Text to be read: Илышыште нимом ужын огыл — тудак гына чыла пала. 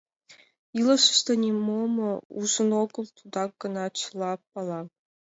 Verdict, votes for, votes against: accepted, 3, 2